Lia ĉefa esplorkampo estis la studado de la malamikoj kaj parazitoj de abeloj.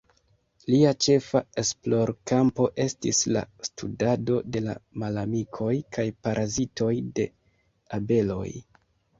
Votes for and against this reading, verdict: 1, 2, rejected